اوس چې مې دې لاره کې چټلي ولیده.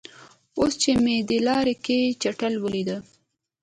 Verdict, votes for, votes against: accepted, 2, 0